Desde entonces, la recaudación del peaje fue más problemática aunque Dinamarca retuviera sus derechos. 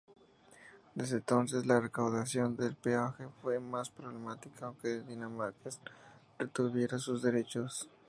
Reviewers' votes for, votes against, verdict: 0, 2, rejected